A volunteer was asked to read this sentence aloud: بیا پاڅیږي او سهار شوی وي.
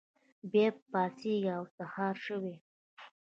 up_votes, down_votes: 1, 2